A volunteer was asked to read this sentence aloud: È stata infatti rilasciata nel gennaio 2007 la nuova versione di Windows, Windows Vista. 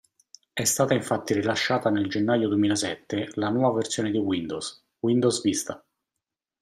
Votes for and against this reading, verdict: 0, 2, rejected